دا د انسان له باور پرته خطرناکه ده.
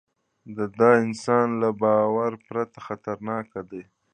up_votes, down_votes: 2, 1